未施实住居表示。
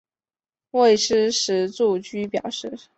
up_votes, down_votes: 2, 0